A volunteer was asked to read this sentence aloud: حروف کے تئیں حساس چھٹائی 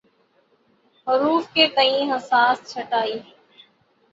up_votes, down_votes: 3, 0